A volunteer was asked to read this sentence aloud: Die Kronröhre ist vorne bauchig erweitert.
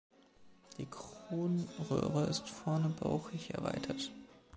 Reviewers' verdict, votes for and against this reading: accepted, 2, 0